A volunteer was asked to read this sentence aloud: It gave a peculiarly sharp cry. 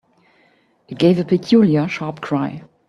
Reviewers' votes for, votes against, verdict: 0, 2, rejected